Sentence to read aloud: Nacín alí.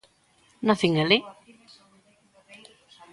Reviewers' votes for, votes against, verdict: 1, 2, rejected